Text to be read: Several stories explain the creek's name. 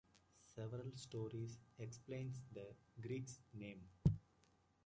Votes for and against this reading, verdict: 0, 2, rejected